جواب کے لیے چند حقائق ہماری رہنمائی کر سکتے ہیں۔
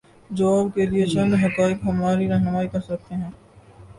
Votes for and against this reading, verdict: 0, 2, rejected